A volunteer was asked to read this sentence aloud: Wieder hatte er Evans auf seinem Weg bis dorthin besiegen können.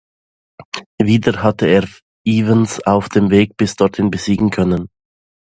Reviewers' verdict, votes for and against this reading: rejected, 1, 2